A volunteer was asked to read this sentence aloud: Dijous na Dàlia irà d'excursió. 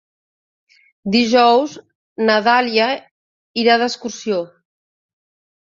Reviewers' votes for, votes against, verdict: 3, 0, accepted